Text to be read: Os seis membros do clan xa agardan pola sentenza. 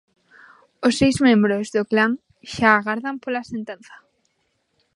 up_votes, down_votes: 3, 0